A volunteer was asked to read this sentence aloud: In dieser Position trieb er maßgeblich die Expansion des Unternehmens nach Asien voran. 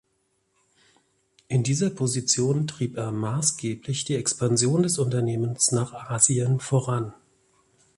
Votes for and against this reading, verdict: 2, 0, accepted